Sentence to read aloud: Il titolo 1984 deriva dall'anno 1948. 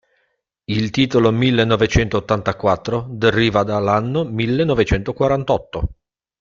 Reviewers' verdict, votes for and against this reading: rejected, 0, 2